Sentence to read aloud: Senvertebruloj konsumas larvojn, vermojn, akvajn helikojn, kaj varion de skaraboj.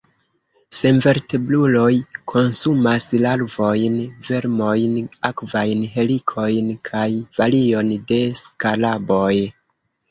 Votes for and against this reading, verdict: 0, 2, rejected